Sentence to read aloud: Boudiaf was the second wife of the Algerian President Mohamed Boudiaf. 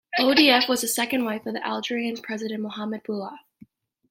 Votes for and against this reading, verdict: 0, 2, rejected